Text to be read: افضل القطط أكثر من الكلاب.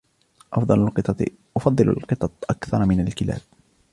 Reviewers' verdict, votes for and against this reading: rejected, 1, 2